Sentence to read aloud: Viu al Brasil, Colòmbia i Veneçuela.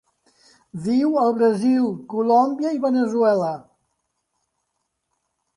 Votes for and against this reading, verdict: 2, 0, accepted